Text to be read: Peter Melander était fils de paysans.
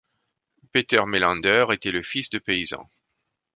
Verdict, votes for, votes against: rejected, 1, 2